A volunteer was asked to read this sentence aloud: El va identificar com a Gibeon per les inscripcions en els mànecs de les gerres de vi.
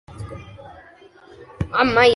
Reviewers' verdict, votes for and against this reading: rejected, 0, 2